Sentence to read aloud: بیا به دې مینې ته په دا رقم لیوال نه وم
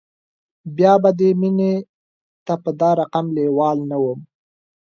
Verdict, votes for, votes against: accepted, 2, 0